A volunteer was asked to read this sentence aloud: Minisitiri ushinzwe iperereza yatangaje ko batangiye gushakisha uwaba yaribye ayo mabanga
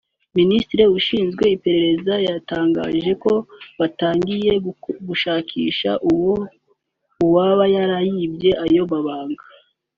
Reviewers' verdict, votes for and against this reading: rejected, 1, 2